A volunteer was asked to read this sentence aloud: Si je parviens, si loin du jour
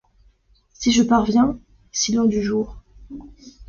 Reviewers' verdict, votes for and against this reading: accepted, 2, 0